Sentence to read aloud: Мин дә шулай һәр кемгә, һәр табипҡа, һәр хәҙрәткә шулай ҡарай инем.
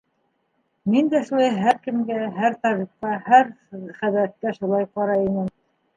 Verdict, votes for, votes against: accepted, 2, 1